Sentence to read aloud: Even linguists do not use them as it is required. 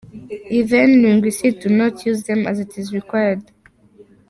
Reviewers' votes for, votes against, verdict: 0, 2, rejected